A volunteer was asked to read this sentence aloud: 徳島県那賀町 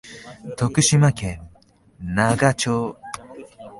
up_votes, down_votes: 2, 0